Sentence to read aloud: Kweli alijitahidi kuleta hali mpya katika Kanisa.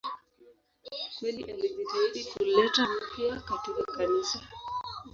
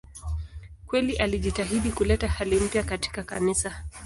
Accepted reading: second